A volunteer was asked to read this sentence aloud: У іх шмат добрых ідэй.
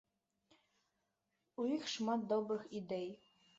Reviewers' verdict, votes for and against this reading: accepted, 2, 0